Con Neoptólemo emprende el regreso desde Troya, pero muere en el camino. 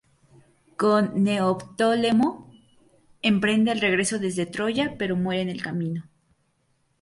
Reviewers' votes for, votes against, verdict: 2, 2, rejected